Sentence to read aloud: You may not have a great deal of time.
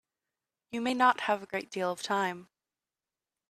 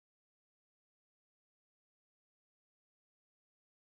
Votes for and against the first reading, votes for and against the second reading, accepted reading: 2, 0, 0, 2, first